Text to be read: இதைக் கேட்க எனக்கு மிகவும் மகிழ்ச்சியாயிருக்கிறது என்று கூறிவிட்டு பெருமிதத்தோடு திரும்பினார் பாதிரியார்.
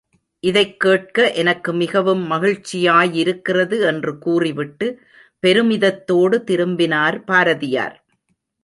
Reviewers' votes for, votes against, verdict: 0, 3, rejected